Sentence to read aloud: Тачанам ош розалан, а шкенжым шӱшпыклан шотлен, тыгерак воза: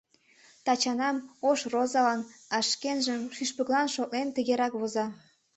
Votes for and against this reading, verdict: 2, 0, accepted